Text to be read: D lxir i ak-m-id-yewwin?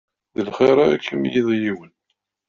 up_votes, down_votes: 1, 2